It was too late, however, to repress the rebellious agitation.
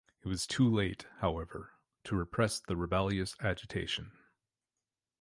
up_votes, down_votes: 2, 3